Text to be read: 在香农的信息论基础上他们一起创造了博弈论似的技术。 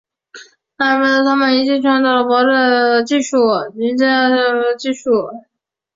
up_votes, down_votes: 0, 2